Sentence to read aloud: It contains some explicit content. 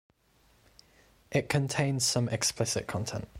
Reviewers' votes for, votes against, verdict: 2, 0, accepted